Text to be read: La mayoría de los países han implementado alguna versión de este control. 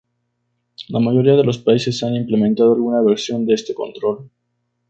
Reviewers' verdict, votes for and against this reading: rejected, 0, 2